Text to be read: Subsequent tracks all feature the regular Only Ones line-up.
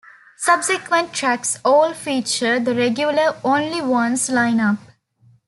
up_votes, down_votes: 2, 0